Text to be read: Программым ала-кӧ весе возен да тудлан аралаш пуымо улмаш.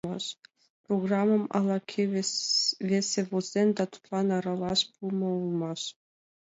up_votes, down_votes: 2, 3